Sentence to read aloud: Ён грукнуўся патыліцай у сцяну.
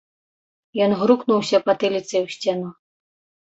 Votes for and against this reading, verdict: 0, 2, rejected